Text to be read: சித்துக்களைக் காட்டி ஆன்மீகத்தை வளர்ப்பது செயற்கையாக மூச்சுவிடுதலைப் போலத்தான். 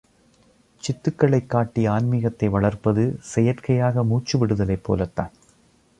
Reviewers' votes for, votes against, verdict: 2, 0, accepted